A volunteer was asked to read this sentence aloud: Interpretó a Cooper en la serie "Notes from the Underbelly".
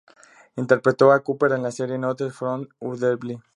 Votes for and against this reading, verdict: 2, 0, accepted